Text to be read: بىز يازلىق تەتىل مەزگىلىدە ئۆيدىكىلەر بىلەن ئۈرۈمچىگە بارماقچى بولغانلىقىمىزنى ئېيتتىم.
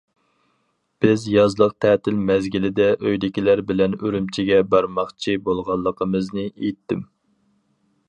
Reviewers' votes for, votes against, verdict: 4, 0, accepted